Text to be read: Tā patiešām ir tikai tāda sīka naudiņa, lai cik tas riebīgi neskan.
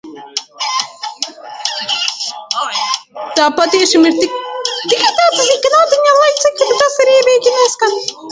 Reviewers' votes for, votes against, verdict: 0, 2, rejected